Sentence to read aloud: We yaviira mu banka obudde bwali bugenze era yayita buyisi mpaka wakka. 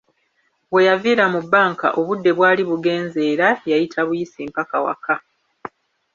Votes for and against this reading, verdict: 1, 2, rejected